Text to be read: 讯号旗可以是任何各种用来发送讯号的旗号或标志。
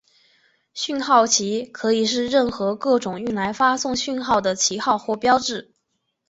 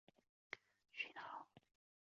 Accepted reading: first